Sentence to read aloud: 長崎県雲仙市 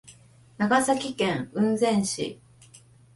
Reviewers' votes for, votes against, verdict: 2, 0, accepted